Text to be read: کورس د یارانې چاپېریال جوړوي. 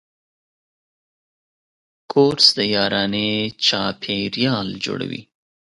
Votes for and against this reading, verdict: 2, 0, accepted